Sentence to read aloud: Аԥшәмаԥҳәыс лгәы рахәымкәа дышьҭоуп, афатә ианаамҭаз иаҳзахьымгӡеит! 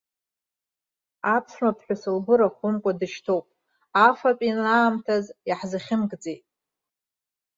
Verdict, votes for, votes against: accepted, 2, 1